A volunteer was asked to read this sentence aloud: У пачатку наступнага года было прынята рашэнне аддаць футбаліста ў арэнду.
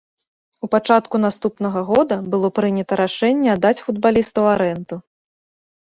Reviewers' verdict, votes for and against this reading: rejected, 1, 2